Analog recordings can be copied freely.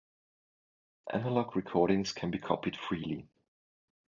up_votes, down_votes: 2, 1